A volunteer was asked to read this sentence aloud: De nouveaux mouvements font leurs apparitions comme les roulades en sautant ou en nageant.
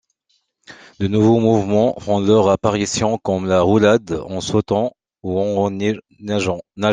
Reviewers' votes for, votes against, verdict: 1, 2, rejected